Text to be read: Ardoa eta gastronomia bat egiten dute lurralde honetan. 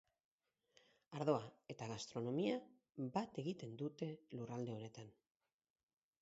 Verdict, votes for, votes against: rejected, 2, 4